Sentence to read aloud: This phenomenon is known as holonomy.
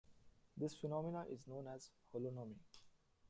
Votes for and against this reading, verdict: 3, 2, accepted